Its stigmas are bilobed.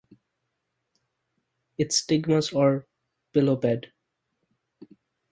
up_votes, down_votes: 2, 0